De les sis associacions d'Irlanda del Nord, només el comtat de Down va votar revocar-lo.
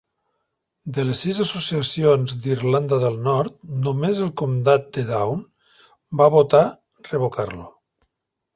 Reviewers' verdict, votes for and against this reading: accepted, 2, 0